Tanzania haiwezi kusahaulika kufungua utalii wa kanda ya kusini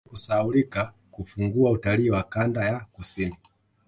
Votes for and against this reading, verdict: 0, 2, rejected